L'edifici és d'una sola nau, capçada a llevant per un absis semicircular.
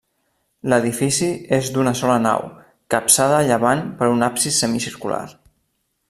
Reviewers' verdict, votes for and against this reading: accepted, 3, 0